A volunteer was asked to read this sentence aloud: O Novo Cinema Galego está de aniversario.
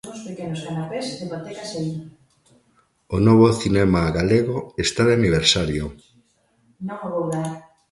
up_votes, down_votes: 0, 2